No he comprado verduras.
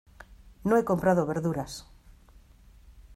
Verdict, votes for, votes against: accepted, 2, 0